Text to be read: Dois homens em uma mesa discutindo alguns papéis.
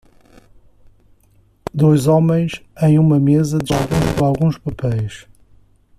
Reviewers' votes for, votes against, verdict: 0, 2, rejected